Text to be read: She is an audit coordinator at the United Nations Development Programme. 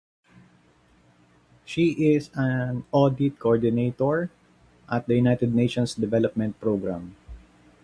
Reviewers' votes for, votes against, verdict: 0, 2, rejected